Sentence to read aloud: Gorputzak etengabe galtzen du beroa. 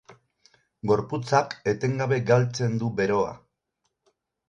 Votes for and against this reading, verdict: 2, 2, rejected